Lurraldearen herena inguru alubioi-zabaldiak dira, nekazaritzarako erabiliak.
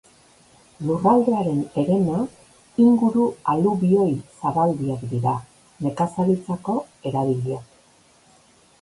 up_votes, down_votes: 1, 2